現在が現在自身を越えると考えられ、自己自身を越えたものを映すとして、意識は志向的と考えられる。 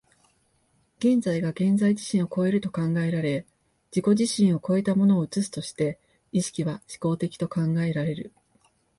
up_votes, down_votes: 2, 0